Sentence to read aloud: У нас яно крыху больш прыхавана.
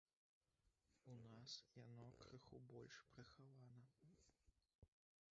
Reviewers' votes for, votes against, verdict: 0, 2, rejected